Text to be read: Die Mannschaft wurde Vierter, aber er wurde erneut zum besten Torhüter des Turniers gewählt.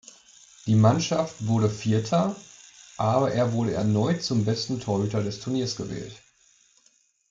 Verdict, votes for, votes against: accepted, 2, 0